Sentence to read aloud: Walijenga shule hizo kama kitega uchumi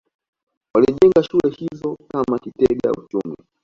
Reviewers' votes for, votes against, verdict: 2, 1, accepted